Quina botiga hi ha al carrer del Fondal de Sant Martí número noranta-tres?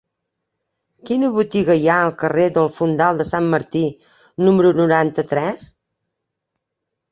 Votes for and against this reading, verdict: 3, 0, accepted